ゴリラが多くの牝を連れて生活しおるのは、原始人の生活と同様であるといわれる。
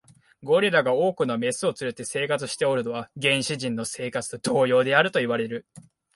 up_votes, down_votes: 3, 6